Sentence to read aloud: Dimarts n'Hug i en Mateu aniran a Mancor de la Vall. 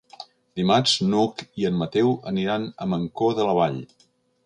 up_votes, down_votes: 3, 0